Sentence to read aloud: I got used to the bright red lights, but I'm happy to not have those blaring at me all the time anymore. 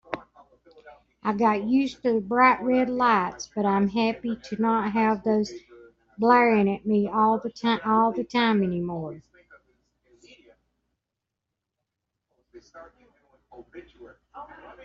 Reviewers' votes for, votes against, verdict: 1, 2, rejected